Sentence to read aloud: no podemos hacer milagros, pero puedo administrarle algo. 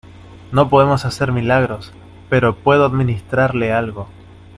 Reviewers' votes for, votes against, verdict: 2, 0, accepted